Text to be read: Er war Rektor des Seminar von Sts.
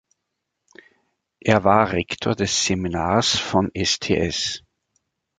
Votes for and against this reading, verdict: 0, 3, rejected